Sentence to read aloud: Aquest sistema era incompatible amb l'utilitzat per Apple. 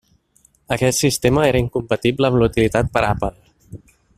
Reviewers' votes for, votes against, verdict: 1, 2, rejected